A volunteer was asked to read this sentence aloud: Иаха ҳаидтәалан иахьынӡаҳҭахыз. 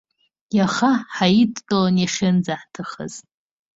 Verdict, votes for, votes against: rejected, 1, 2